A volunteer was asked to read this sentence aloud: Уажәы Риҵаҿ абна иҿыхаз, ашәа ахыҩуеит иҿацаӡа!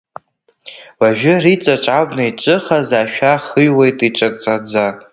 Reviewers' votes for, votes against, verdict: 1, 2, rejected